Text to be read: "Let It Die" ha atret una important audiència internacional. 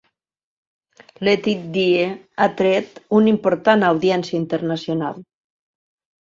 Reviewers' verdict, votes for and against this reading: rejected, 1, 2